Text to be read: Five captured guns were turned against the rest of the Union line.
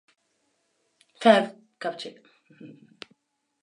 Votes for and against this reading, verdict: 0, 2, rejected